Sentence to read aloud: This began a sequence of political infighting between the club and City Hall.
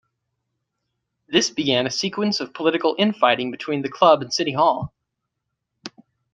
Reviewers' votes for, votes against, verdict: 2, 0, accepted